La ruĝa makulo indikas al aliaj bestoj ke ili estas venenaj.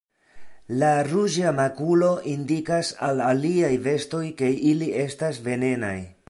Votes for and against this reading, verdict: 0, 2, rejected